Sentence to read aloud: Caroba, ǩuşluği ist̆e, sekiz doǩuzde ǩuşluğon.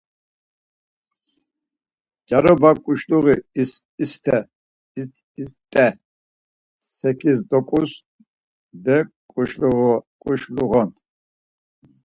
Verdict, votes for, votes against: rejected, 0, 4